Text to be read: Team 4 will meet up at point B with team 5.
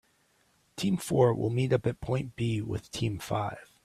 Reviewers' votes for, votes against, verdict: 0, 2, rejected